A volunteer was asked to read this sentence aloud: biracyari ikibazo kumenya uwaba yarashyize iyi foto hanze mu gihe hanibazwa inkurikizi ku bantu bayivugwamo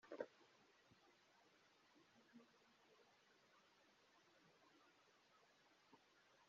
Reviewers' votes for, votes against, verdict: 0, 2, rejected